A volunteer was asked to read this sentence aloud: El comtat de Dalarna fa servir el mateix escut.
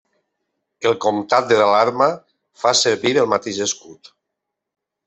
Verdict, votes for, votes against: rejected, 1, 2